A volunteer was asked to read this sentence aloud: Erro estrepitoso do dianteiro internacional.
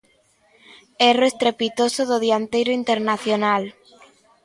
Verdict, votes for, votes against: accepted, 2, 0